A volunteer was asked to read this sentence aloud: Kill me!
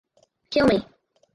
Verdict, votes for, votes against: rejected, 0, 4